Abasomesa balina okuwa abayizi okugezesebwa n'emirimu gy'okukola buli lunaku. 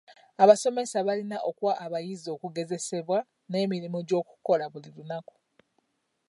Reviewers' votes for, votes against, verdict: 2, 0, accepted